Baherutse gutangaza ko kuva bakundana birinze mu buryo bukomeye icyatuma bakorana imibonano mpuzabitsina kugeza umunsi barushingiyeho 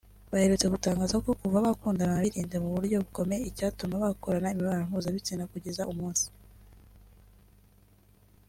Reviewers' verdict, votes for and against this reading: rejected, 0, 2